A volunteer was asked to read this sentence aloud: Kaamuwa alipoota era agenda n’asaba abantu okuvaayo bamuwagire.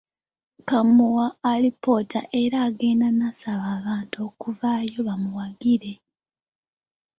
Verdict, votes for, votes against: rejected, 0, 2